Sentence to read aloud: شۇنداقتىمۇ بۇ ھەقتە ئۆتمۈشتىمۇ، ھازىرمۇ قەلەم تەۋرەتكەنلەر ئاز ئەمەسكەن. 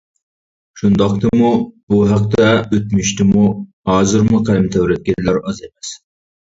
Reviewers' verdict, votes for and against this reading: rejected, 0, 2